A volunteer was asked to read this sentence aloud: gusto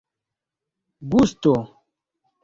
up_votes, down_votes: 1, 2